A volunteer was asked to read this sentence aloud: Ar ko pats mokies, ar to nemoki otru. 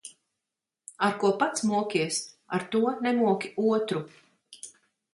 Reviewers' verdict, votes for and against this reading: accepted, 6, 0